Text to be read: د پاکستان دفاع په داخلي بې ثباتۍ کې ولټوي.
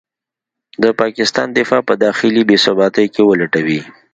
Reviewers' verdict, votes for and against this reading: rejected, 0, 2